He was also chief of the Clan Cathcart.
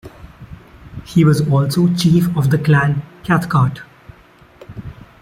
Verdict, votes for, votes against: rejected, 0, 2